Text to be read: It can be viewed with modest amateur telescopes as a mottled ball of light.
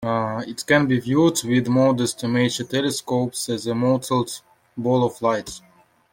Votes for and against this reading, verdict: 1, 2, rejected